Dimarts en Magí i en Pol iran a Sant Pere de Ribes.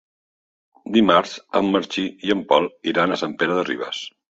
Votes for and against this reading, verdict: 1, 2, rejected